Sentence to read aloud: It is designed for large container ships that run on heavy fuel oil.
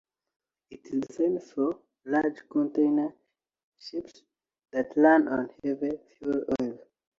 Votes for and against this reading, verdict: 1, 2, rejected